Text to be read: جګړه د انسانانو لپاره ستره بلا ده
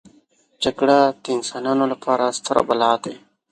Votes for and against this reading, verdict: 2, 0, accepted